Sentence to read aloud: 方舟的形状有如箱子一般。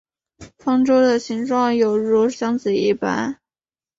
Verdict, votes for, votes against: accepted, 2, 0